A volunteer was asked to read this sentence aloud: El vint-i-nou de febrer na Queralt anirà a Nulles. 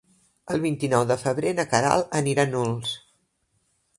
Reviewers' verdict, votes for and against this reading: rejected, 0, 3